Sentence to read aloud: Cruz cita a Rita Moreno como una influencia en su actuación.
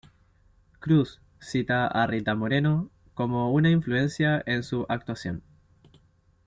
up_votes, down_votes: 2, 0